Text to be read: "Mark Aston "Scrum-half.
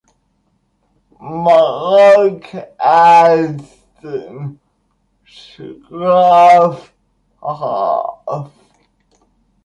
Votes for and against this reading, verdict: 1, 2, rejected